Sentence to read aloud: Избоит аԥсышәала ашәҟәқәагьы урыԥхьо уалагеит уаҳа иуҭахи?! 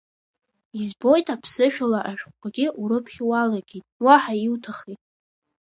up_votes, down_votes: 1, 2